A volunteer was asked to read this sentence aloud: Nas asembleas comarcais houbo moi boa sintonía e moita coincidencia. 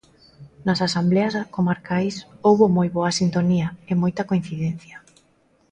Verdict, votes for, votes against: accepted, 2, 1